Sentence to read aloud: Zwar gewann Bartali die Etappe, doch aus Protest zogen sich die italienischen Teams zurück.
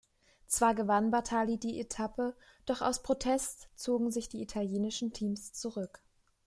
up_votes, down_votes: 2, 0